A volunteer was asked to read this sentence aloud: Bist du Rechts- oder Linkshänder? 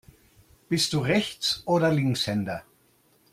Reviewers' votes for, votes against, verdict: 2, 0, accepted